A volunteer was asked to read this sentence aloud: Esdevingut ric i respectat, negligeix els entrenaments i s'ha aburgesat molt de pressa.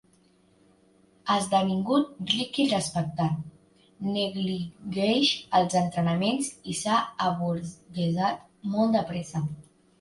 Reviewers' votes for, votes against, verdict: 1, 2, rejected